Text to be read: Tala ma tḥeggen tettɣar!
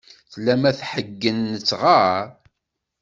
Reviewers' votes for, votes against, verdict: 2, 0, accepted